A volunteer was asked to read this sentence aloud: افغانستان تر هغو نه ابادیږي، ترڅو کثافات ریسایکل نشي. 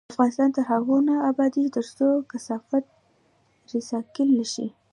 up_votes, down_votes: 2, 0